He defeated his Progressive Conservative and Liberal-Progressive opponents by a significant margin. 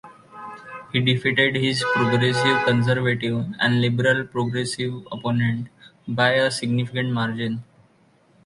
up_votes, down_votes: 2, 1